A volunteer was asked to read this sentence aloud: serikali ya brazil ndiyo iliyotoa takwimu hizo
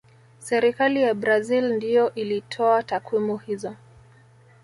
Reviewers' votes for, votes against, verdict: 1, 2, rejected